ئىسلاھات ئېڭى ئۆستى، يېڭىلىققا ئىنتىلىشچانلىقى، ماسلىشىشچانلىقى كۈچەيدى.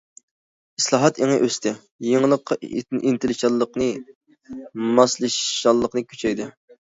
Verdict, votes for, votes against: rejected, 0, 2